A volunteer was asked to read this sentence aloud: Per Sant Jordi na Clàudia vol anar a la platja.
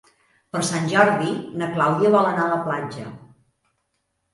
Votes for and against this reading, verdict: 5, 0, accepted